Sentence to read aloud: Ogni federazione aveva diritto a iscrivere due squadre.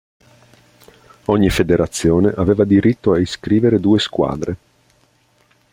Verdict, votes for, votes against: accepted, 2, 0